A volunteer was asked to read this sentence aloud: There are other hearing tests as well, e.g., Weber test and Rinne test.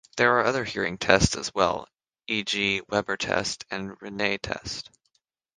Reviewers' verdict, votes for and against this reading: rejected, 3, 3